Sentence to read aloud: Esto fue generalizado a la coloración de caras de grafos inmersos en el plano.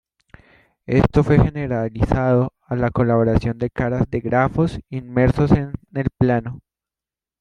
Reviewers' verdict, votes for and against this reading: accepted, 2, 1